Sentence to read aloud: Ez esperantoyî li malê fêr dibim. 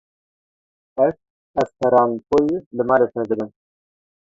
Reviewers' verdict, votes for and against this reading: rejected, 0, 2